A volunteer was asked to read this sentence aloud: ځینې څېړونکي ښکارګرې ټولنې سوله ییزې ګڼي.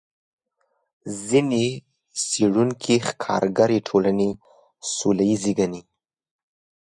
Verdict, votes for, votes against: accepted, 2, 0